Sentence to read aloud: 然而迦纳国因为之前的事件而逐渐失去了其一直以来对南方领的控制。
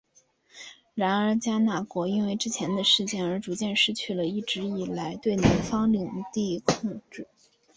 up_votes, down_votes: 3, 2